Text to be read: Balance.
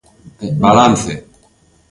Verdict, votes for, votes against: accepted, 2, 0